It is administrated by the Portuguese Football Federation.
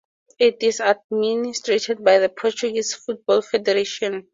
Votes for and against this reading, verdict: 2, 0, accepted